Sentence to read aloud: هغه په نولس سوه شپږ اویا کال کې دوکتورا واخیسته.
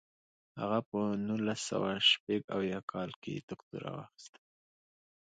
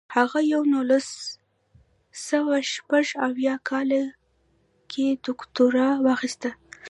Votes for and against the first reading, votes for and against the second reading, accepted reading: 2, 0, 1, 2, first